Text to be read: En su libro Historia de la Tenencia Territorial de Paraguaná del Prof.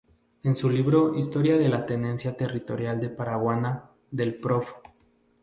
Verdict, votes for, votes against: accepted, 2, 0